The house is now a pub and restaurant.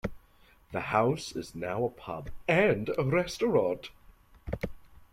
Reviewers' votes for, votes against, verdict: 2, 0, accepted